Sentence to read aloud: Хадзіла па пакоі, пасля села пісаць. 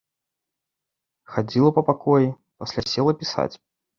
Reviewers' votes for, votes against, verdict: 2, 0, accepted